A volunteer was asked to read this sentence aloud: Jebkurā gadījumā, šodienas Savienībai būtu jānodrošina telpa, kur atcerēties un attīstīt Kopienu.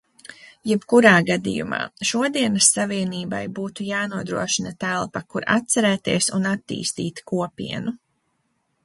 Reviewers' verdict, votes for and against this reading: accepted, 2, 0